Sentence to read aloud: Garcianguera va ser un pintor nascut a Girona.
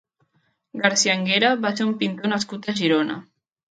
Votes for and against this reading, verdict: 0, 2, rejected